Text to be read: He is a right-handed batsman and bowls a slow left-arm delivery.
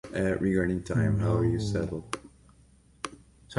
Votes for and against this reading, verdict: 0, 2, rejected